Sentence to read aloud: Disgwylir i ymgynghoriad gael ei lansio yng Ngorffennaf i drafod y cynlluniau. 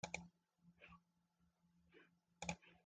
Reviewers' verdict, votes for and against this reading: rejected, 0, 2